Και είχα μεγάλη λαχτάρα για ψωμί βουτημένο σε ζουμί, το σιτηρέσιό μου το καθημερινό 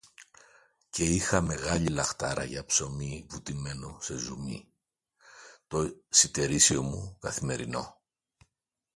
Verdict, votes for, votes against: rejected, 0, 2